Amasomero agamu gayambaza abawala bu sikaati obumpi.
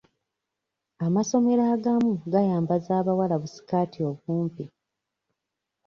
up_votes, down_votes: 2, 0